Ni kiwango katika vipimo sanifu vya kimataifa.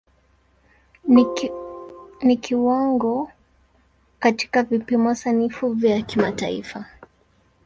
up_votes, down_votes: 0, 2